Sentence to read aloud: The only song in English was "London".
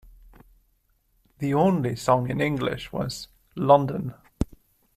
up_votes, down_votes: 2, 0